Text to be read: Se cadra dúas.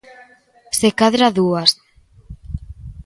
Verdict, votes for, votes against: accepted, 2, 0